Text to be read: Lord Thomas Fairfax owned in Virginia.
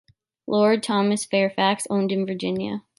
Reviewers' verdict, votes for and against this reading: accepted, 2, 0